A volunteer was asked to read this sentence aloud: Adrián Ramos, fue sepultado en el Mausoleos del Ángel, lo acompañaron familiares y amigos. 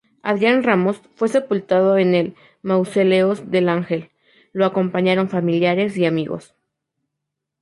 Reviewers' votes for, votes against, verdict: 2, 2, rejected